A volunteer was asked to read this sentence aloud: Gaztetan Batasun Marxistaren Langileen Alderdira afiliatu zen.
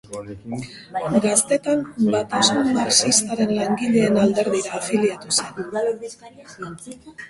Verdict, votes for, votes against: accepted, 3, 2